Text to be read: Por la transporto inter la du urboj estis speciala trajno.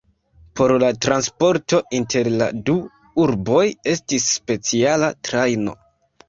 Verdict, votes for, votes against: accepted, 2, 1